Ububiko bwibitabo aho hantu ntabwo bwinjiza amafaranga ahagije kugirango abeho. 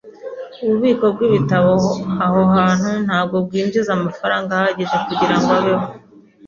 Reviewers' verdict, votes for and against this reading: accepted, 2, 0